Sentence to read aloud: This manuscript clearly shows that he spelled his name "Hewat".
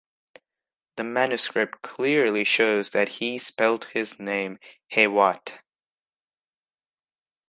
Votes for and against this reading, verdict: 1, 2, rejected